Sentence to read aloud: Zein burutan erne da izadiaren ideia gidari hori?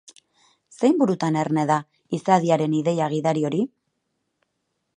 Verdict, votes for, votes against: accepted, 2, 0